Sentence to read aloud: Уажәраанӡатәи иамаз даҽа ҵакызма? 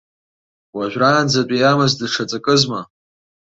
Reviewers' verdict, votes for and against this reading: accepted, 2, 0